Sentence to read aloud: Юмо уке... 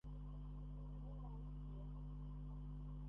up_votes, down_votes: 0, 2